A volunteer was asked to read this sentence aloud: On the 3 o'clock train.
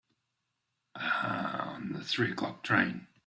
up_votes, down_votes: 0, 2